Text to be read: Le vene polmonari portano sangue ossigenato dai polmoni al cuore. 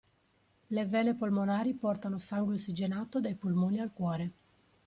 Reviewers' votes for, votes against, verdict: 3, 1, accepted